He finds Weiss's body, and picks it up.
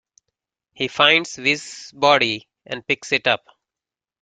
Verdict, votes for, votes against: rejected, 1, 2